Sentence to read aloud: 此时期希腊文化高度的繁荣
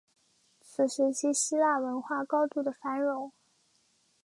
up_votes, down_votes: 3, 0